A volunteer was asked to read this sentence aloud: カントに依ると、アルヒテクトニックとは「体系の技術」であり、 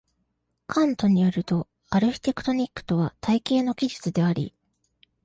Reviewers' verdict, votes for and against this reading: accepted, 2, 0